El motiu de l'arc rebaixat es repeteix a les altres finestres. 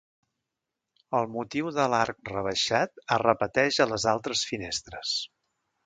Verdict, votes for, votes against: accepted, 2, 0